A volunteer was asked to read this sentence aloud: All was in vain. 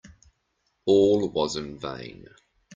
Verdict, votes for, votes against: accepted, 2, 0